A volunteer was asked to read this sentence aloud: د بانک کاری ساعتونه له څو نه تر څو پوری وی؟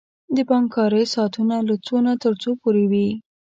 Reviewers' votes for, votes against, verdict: 2, 0, accepted